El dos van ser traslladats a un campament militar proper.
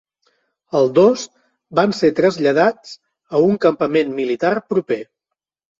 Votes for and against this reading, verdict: 2, 0, accepted